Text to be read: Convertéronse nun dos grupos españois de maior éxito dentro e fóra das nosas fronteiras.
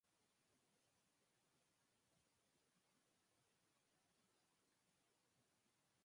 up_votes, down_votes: 0, 4